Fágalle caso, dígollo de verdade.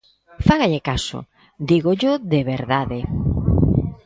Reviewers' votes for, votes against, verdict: 2, 0, accepted